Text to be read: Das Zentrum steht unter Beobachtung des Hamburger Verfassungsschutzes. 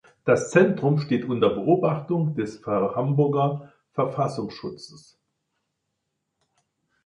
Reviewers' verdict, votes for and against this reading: rejected, 1, 2